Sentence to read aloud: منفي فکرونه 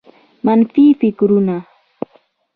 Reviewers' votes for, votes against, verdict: 2, 1, accepted